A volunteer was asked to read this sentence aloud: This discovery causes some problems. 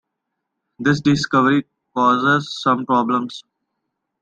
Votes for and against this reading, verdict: 2, 0, accepted